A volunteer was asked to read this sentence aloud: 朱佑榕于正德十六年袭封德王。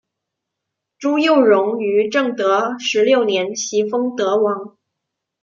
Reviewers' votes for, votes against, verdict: 2, 0, accepted